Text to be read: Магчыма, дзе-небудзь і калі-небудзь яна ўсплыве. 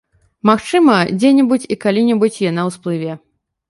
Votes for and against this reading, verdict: 1, 2, rejected